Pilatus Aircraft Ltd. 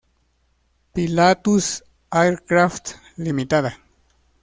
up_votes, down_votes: 0, 2